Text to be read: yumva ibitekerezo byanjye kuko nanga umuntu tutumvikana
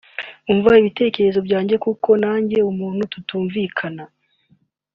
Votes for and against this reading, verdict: 2, 1, accepted